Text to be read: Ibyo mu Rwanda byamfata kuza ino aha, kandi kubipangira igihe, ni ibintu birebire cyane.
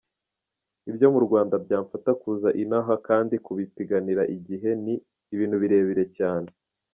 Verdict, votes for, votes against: accepted, 2, 0